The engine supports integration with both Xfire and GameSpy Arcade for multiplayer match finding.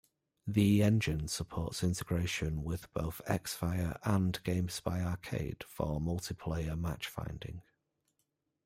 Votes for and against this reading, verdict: 2, 0, accepted